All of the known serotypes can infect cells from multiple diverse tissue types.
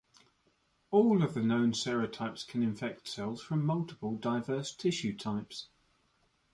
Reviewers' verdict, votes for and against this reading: accepted, 2, 1